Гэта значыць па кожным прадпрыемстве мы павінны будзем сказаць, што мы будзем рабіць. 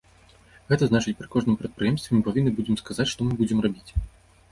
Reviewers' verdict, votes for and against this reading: rejected, 0, 2